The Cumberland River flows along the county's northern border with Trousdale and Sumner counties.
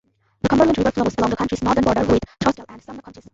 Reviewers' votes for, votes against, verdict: 0, 2, rejected